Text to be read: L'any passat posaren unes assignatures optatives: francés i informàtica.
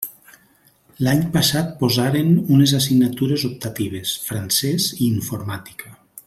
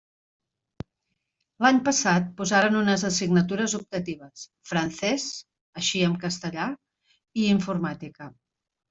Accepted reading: first